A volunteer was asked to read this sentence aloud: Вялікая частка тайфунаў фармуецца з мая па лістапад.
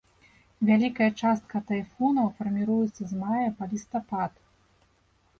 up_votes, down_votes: 0, 2